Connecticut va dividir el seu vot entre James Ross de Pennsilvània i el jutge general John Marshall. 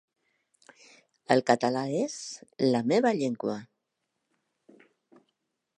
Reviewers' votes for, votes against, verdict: 0, 3, rejected